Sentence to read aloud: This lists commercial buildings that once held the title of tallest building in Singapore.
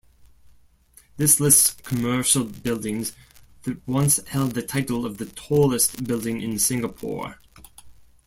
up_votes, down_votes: 1, 2